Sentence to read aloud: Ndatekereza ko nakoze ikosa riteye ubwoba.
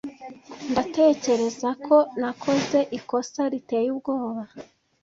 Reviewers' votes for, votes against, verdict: 2, 0, accepted